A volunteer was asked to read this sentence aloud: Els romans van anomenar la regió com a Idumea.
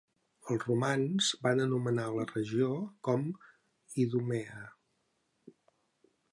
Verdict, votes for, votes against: rejected, 2, 3